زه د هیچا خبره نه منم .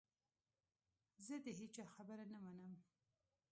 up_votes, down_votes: 1, 2